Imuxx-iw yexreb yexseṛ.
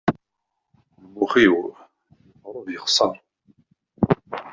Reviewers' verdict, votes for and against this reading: rejected, 1, 2